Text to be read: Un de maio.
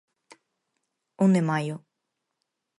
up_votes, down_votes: 4, 0